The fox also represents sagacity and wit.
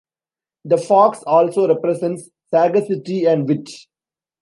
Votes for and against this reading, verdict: 0, 2, rejected